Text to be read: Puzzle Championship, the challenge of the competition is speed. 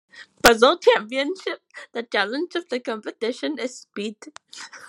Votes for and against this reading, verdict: 1, 2, rejected